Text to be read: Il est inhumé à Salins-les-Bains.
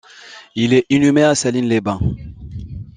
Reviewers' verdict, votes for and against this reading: rejected, 0, 2